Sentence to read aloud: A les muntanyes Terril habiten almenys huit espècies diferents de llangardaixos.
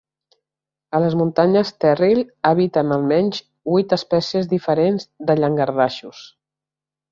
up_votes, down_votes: 2, 0